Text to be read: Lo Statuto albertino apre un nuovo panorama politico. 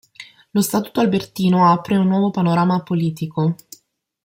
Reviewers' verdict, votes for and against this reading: accepted, 2, 0